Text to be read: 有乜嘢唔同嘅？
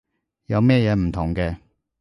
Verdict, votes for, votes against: rejected, 1, 2